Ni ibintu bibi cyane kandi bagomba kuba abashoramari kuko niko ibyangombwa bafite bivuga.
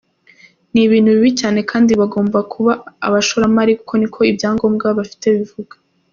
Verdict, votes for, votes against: accepted, 2, 0